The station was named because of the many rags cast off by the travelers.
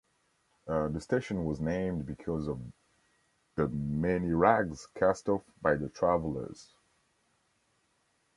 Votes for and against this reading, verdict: 2, 0, accepted